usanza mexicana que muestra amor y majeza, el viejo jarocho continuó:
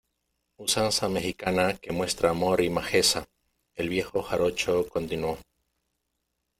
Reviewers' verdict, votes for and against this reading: accepted, 2, 0